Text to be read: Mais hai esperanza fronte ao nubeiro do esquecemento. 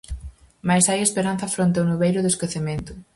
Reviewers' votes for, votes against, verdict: 4, 0, accepted